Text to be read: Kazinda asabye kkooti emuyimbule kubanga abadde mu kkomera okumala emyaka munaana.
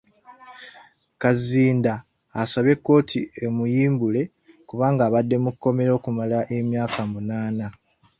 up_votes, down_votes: 3, 1